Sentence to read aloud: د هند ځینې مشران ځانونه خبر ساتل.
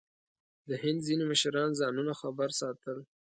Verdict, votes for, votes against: accepted, 2, 0